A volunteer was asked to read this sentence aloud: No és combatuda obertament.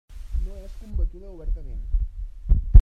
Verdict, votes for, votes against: rejected, 1, 2